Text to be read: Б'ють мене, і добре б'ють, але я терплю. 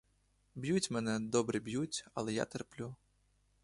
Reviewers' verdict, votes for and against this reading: rejected, 0, 2